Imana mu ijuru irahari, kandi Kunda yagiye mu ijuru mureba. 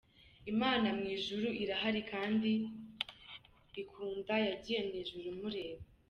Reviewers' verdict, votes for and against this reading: rejected, 0, 2